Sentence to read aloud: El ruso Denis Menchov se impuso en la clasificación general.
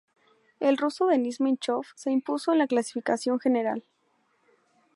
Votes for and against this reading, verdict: 2, 0, accepted